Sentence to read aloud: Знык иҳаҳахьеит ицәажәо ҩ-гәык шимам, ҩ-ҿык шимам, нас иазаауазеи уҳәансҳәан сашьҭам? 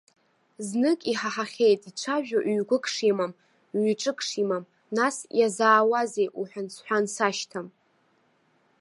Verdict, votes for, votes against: accepted, 2, 0